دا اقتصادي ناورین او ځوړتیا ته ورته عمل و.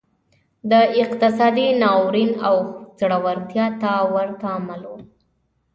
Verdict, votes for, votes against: accepted, 2, 0